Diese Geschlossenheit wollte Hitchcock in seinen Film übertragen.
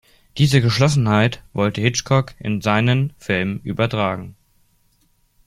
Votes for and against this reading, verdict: 2, 0, accepted